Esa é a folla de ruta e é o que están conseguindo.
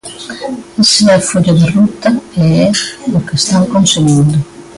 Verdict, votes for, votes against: rejected, 0, 2